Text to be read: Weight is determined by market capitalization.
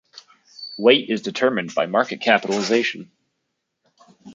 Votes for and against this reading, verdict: 2, 0, accepted